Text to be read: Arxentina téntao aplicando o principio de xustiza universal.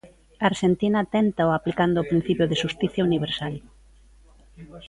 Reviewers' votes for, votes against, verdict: 0, 2, rejected